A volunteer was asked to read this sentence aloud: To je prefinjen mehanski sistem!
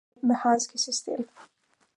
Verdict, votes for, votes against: rejected, 0, 2